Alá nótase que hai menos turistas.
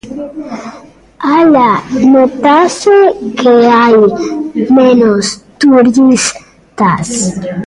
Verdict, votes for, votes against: rejected, 0, 2